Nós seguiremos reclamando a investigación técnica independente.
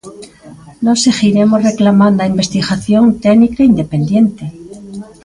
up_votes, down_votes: 1, 2